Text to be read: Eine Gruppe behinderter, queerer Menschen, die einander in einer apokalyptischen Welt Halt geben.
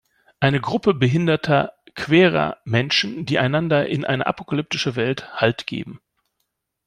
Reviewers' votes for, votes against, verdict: 1, 2, rejected